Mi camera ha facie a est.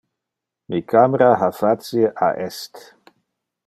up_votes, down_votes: 2, 0